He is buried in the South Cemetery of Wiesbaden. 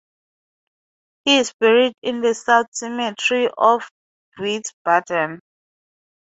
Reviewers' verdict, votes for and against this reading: accepted, 2, 0